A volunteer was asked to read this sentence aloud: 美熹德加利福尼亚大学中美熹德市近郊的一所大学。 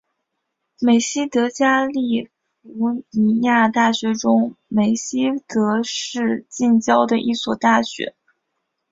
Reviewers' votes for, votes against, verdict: 3, 0, accepted